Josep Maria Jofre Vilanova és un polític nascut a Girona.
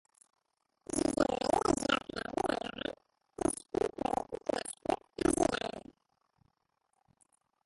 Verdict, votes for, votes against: rejected, 0, 2